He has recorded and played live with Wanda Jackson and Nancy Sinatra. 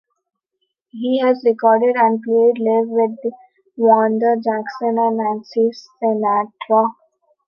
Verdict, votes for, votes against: rejected, 0, 2